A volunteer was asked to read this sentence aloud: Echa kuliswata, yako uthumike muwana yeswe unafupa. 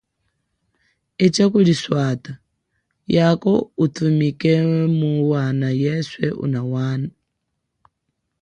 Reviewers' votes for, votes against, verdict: 2, 0, accepted